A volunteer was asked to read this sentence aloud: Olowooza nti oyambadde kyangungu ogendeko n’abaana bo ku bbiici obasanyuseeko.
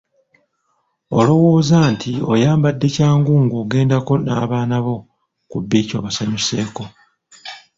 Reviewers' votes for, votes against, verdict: 0, 2, rejected